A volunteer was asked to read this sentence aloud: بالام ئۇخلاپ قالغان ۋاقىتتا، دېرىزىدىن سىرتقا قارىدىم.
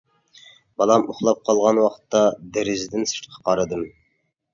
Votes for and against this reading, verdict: 2, 1, accepted